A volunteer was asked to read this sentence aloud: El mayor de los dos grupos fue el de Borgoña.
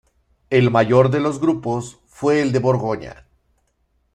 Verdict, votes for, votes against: rejected, 1, 2